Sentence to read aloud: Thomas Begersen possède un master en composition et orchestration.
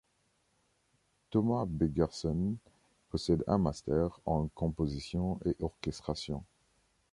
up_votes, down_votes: 2, 0